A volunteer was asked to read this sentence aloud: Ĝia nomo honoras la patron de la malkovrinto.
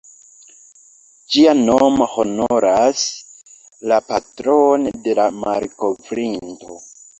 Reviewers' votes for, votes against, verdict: 2, 1, accepted